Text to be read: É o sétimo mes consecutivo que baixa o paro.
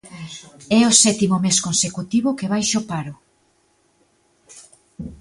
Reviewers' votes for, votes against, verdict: 2, 0, accepted